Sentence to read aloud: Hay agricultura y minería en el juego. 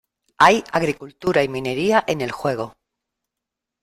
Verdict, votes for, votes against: accepted, 2, 0